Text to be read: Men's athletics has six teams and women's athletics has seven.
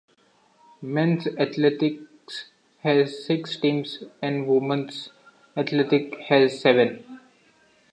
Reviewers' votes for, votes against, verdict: 1, 2, rejected